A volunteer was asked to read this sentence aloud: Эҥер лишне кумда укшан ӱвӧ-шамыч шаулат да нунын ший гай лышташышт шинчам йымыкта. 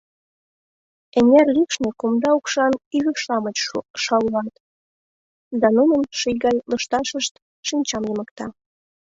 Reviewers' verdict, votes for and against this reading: rejected, 0, 2